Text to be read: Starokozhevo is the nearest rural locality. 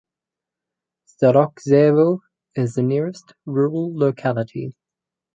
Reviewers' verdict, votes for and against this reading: rejected, 2, 2